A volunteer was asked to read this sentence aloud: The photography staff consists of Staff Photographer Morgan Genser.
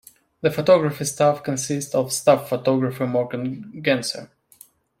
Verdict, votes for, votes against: rejected, 1, 2